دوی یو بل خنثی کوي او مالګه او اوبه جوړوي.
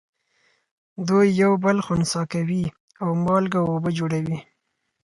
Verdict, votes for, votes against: accepted, 4, 0